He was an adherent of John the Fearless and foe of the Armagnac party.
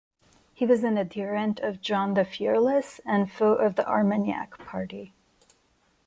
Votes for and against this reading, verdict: 2, 0, accepted